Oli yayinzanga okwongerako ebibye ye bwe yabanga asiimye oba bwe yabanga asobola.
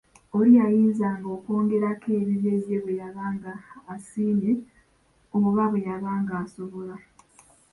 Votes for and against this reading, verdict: 2, 0, accepted